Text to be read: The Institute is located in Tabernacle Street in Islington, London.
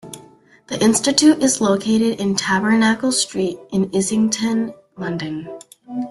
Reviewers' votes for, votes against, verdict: 2, 0, accepted